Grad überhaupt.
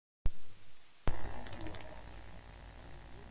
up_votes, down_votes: 1, 2